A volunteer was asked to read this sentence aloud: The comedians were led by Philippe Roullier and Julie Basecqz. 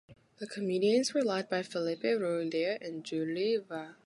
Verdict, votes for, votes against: rejected, 1, 2